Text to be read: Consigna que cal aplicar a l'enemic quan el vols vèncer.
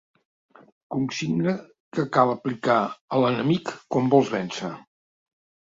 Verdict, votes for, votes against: rejected, 1, 2